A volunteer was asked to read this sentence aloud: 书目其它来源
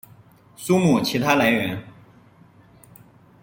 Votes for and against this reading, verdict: 2, 0, accepted